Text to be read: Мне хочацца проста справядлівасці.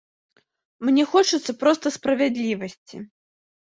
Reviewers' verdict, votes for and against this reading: accepted, 2, 0